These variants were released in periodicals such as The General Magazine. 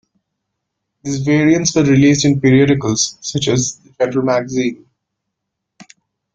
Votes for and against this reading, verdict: 1, 3, rejected